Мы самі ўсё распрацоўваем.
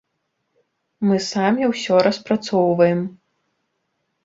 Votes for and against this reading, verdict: 2, 0, accepted